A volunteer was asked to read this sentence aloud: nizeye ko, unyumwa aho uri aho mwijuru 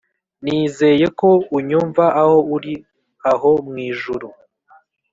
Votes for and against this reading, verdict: 2, 0, accepted